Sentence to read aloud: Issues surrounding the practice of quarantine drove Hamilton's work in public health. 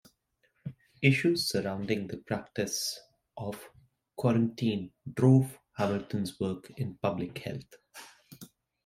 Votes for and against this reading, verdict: 3, 1, accepted